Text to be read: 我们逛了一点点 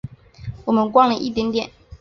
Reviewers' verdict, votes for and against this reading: accepted, 3, 0